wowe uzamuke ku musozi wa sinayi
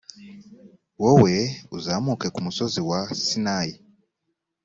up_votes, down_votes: 2, 0